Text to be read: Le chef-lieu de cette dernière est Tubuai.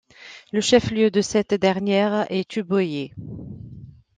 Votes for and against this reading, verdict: 2, 1, accepted